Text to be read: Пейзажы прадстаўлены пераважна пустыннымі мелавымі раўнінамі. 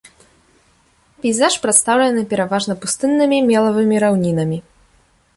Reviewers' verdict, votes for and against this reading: rejected, 1, 2